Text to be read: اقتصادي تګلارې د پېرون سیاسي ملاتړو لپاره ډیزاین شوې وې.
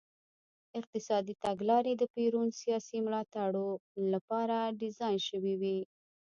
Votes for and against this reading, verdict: 2, 0, accepted